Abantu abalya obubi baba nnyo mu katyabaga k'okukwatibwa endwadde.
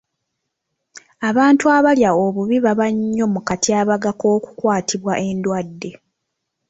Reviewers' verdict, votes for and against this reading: rejected, 1, 2